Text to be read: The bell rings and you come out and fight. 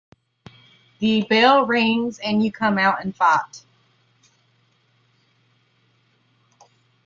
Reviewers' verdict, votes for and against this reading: rejected, 0, 2